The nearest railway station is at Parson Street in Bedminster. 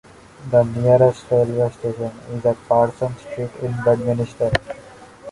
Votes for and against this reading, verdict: 0, 2, rejected